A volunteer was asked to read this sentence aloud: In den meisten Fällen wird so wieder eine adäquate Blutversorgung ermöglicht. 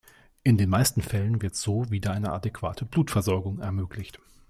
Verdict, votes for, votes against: accepted, 2, 0